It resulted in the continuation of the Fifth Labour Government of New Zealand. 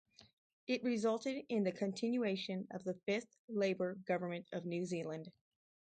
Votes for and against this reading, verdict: 2, 2, rejected